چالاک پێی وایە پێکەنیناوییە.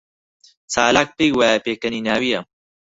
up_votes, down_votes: 6, 0